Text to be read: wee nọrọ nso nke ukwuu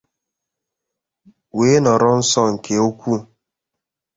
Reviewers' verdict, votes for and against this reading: accepted, 2, 0